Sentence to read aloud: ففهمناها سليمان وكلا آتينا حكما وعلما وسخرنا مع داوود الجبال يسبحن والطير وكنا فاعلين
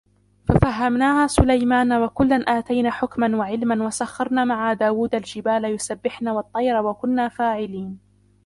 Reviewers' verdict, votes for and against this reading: rejected, 0, 2